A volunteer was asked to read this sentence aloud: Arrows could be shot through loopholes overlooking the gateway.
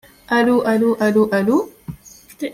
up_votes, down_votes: 0, 2